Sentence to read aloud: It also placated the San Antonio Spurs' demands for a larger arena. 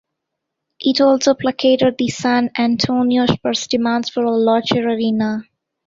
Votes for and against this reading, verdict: 2, 0, accepted